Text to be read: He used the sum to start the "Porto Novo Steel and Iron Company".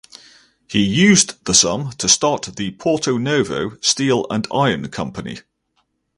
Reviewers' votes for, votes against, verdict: 4, 0, accepted